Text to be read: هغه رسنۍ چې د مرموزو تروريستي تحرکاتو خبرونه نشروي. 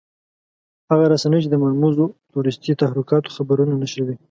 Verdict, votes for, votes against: accepted, 2, 0